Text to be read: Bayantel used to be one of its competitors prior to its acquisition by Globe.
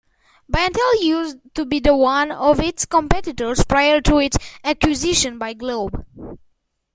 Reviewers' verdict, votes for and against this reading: rejected, 1, 2